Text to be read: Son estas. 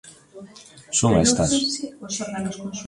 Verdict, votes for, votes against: rejected, 0, 2